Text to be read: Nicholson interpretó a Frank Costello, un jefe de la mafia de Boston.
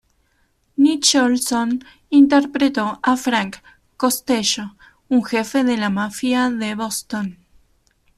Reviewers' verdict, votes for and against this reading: rejected, 1, 2